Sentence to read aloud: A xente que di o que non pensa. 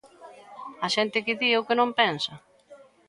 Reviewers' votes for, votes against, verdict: 2, 0, accepted